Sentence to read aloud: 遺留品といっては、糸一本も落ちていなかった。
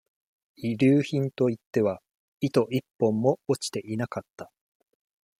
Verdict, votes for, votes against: accepted, 2, 0